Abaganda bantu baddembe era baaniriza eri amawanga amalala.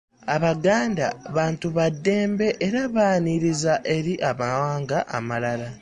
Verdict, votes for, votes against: accepted, 2, 0